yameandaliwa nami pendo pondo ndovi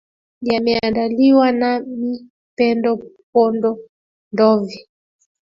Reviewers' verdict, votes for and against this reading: accepted, 2, 1